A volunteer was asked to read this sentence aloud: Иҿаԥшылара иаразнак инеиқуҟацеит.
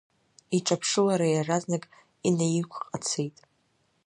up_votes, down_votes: 0, 2